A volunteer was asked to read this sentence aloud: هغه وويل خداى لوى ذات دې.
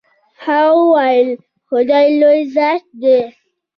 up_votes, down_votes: 0, 2